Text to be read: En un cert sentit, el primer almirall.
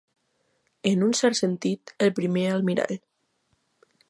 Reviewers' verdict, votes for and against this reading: accepted, 2, 0